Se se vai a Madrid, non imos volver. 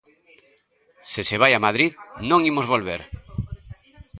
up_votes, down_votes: 2, 0